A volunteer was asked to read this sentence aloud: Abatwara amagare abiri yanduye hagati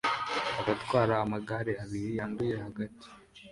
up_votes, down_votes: 2, 0